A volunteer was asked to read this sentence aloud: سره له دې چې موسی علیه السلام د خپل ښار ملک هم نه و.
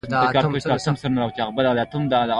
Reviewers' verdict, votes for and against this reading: rejected, 0, 2